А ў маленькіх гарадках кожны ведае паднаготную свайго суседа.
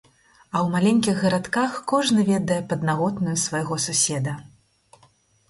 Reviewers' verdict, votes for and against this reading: accepted, 4, 0